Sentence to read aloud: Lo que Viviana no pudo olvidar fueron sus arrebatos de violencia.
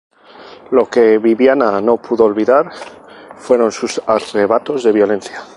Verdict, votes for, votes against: accepted, 2, 0